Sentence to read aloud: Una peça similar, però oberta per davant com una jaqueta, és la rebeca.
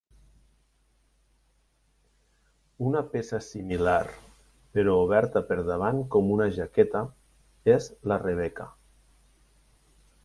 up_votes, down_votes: 2, 0